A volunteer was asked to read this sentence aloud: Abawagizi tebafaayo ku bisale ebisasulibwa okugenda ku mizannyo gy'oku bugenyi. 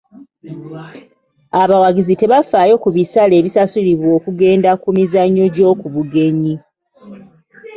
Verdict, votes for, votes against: accepted, 2, 0